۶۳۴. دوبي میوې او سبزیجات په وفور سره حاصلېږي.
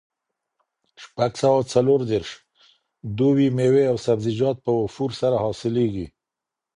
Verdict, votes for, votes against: rejected, 0, 2